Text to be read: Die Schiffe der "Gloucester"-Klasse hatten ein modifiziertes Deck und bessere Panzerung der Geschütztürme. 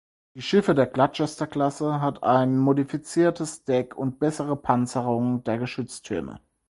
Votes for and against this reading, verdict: 2, 4, rejected